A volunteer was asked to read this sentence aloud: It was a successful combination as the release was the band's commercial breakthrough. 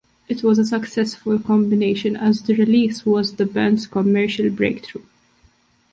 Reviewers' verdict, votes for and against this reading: accepted, 2, 0